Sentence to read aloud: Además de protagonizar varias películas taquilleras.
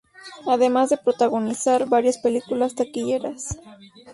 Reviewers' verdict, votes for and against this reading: accepted, 2, 0